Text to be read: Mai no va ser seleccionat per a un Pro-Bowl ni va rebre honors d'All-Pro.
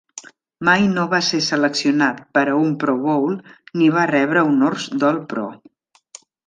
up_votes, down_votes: 2, 0